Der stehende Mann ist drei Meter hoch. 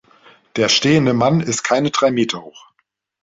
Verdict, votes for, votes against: rejected, 1, 2